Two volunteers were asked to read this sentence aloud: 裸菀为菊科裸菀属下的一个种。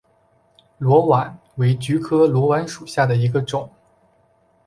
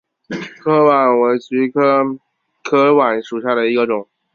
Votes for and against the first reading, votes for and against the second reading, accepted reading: 2, 0, 0, 2, first